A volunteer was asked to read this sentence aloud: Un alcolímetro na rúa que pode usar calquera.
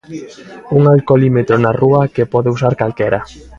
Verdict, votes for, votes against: accepted, 2, 1